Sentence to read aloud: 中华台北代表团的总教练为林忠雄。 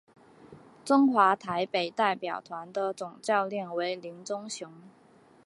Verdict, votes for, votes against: accepted, 2, 0